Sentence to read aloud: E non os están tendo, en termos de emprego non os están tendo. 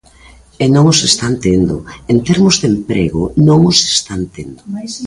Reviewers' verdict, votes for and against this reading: accepted, 2, 0